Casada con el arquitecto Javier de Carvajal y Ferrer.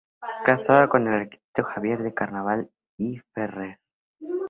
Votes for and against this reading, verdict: 4, 0, accepted